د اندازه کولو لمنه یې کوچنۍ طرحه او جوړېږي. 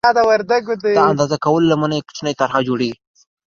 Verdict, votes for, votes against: accepted, 2, 0